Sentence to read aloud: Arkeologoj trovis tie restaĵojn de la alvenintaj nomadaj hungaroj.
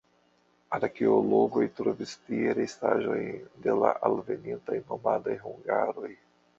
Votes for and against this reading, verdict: 1, 2, rejected